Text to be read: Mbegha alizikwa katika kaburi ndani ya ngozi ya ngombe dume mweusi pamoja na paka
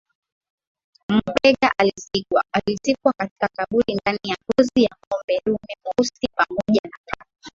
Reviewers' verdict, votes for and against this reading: accepted, 11, 7